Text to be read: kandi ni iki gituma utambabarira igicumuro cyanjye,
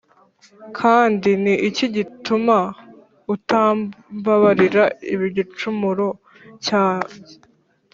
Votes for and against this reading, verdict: 3, 4, rejected